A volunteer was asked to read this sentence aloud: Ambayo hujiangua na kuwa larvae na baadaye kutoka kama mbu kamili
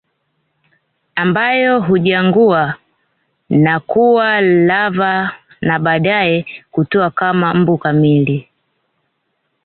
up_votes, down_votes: 1, 2